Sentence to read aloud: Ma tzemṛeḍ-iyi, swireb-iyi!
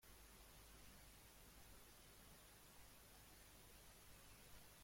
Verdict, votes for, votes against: rejected, 0, 2